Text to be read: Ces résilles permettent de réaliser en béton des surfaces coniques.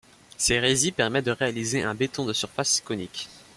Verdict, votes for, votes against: rejected, 0, 2